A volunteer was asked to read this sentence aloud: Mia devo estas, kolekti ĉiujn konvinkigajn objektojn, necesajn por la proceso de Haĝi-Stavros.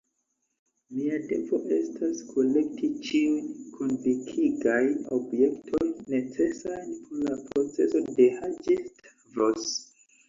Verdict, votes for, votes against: rejected, 2, 3